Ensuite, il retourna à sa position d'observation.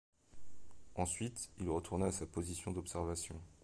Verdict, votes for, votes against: accepted, 2, 0